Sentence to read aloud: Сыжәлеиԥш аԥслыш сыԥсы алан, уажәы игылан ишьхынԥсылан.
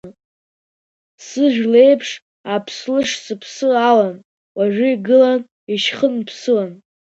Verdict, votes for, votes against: rejected, 1, 2